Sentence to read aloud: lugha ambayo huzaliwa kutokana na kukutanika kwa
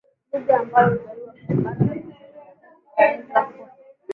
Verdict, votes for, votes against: rejected, 4, 10